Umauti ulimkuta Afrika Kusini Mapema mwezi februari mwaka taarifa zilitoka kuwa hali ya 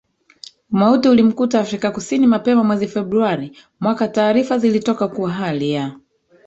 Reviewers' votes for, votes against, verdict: 1, 2, rejected